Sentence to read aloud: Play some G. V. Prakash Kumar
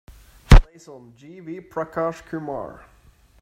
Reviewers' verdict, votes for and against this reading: rejected, 0, 2